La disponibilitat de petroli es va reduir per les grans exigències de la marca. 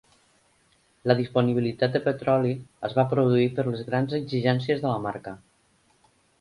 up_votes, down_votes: 1, 2